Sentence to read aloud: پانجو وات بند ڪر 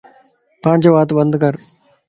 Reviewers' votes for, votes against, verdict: 2, 0, accepted